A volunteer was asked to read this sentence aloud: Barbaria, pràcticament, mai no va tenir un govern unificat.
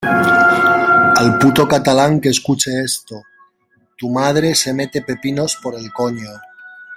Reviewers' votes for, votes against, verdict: 0, 2, rejected